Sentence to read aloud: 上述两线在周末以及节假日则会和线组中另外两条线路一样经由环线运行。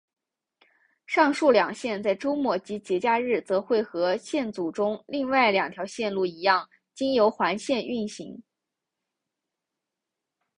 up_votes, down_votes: 4, 1